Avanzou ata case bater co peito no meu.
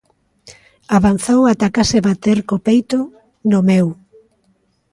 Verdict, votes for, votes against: rejected, 1, 2